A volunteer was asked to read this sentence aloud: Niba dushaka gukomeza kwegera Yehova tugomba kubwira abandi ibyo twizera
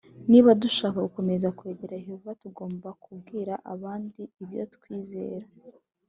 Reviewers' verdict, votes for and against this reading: accepted, 2, 0